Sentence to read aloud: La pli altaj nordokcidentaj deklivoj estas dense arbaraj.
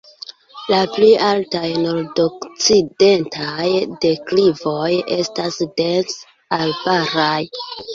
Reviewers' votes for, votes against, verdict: 1, 2, rejected